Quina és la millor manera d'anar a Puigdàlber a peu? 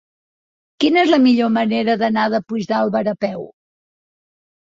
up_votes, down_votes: 0, 2